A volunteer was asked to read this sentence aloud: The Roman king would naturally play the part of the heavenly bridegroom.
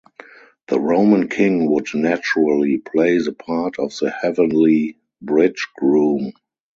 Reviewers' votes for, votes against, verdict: 0, 4, rejected